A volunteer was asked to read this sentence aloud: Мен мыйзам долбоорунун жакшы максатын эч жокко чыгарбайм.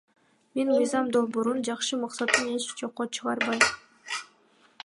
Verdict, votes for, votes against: accepted, 2, 1